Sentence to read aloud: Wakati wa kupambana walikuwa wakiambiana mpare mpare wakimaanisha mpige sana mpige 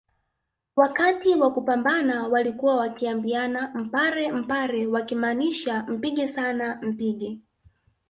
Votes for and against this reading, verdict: 3, 0, accepted